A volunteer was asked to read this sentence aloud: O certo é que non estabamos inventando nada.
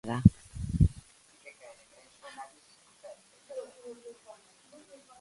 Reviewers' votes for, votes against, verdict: 0, 2, rejected